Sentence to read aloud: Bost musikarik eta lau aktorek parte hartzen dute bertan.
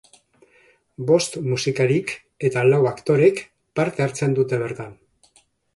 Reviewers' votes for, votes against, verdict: 2, 0, accepted